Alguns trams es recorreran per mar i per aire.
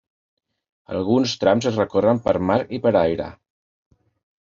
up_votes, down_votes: 0, 2